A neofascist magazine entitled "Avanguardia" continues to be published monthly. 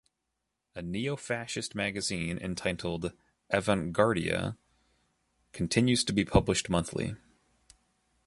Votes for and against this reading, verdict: 4, 0, accepted